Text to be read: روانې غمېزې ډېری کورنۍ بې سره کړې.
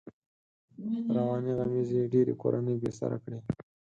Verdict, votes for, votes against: rejected, 2, 4